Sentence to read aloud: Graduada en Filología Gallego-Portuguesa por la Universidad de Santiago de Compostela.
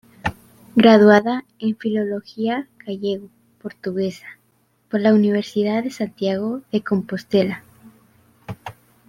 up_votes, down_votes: 0, 2